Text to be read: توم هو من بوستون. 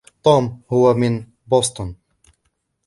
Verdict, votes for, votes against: accepted, 2, 0